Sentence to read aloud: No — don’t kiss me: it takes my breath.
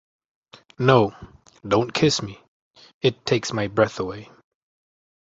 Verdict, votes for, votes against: rejected, 0, 2